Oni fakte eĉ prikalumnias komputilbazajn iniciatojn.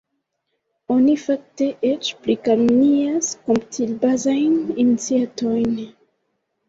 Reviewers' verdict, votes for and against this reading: rejected, 1, 2